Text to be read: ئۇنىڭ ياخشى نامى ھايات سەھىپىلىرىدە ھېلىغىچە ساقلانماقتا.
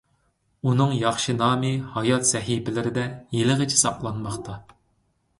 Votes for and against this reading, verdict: 2, 0, accepted